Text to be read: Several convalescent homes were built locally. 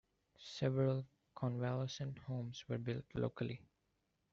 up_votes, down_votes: 2, 1